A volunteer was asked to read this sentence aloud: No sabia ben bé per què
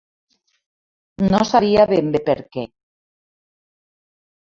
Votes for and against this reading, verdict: 2, 0, accepted